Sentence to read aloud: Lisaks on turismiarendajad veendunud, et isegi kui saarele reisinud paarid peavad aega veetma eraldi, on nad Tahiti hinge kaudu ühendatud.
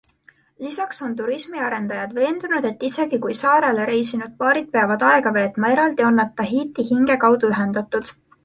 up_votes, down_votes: 2, 0